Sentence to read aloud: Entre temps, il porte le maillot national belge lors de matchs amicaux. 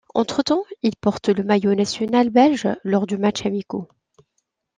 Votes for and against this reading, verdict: 2, 1, accepted